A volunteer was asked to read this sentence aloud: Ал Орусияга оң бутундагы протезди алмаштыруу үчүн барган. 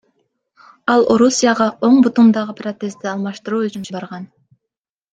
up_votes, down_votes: 1, 2